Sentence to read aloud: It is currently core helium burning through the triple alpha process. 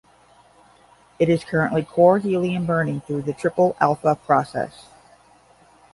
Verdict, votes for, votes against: accepted, 10, 0